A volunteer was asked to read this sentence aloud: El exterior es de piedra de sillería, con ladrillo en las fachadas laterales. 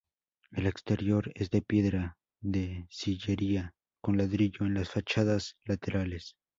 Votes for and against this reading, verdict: 2, 0, accepted